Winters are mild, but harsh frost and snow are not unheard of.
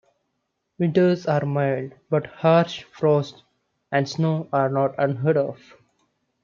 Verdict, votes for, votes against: accepted, 2, 0